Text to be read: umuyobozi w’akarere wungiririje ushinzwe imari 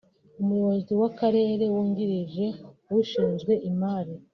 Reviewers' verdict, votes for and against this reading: rejected, 0, 2